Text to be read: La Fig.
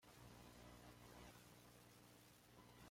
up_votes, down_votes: 0, 2